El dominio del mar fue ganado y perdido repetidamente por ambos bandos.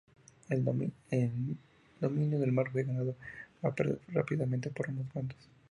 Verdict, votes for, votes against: rejected, 0, 2